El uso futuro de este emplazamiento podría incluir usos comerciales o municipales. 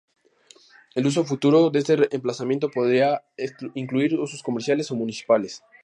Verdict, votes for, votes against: rejected, 0, 2